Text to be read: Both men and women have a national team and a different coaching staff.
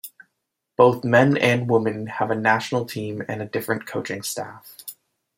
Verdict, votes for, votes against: accepted, 3, 0